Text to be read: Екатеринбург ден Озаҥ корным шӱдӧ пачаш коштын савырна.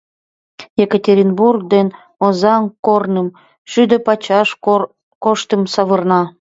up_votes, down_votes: 0, 2